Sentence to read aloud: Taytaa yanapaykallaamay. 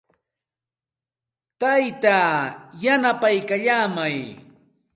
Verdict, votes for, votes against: accepted, 2, 0